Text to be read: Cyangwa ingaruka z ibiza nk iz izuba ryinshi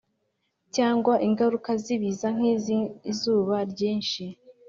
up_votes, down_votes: 3, 0